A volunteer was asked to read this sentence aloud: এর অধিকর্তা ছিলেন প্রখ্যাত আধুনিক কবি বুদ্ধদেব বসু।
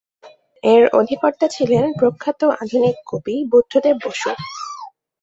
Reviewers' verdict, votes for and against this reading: accepted, 2, 0